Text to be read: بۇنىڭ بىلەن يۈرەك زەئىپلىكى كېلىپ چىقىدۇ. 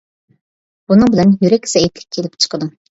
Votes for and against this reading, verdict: 0, 2, rejected